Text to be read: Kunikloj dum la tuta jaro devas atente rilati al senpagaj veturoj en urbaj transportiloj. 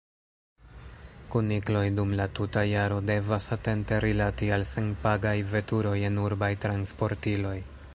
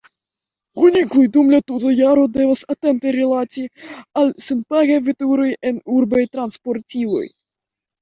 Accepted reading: second